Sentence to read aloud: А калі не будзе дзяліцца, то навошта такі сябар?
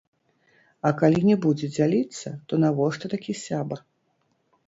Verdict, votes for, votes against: rejected, 3, 4